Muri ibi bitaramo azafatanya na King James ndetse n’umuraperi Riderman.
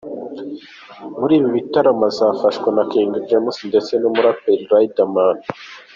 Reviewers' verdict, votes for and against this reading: rejected, 0, 2